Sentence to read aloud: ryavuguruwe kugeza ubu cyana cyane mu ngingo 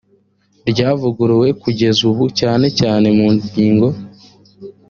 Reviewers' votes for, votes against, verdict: 2, 0, accepted